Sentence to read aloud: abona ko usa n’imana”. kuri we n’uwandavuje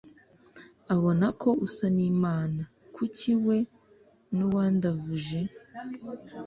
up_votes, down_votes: 1, 2